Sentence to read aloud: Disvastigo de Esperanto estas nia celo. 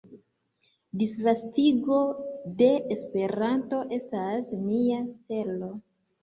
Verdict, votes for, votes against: accepted, 2, 1